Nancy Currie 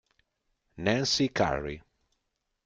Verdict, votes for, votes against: accepted, 2, 0